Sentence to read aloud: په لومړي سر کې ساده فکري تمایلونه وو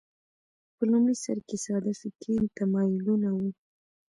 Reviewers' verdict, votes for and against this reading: accepted, 2, 0